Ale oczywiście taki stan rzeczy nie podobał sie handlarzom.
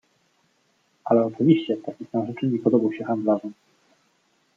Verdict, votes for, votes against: rejected, 1, 2